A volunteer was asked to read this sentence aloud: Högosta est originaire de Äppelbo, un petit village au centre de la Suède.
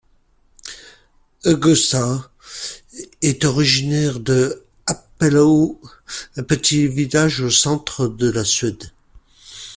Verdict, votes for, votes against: rejected, 1, 3